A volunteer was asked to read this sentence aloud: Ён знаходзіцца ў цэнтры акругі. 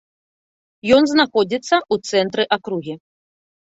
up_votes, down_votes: 1, 2